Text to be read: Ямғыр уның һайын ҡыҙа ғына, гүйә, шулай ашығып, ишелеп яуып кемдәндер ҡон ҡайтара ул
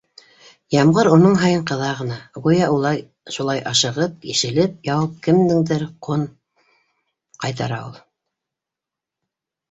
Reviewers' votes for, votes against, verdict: 0, 2, rejected